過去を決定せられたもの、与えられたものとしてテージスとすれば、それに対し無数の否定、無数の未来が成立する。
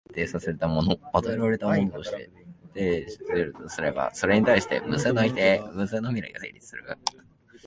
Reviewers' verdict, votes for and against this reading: rejected, 1, 2